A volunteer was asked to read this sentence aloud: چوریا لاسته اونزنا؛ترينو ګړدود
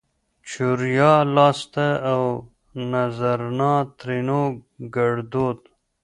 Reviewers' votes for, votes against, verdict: 2, 0, accepted